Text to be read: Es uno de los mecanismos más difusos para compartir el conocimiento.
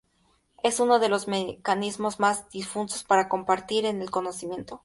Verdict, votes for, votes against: accepted, 2, 0